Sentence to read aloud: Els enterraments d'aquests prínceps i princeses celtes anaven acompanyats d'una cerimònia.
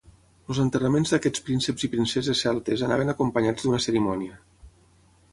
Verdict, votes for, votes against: rejected, 0, 3